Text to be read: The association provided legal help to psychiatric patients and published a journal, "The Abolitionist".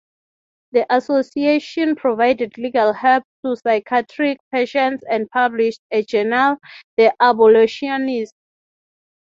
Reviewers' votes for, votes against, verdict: 3, 3, rejected